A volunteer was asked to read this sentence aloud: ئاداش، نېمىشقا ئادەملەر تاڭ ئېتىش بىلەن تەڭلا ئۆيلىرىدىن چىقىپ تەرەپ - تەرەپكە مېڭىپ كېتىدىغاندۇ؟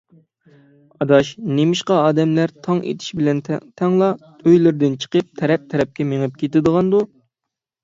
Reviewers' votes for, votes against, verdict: 0, 6, rejected